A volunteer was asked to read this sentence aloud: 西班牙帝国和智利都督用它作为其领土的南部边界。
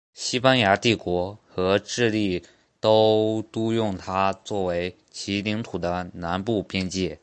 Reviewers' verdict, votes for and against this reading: accepted, 4, 2